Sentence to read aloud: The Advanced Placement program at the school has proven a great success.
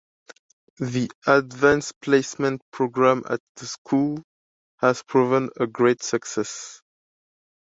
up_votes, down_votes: 2, 0